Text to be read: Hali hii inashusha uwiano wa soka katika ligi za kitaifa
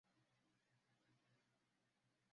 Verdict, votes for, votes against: rejected, 0, 2